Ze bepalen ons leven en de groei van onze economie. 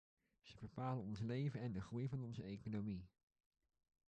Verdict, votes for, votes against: rejected, 0, 2